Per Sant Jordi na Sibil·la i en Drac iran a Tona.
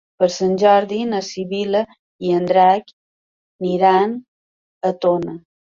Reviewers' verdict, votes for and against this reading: accepted, 2, 0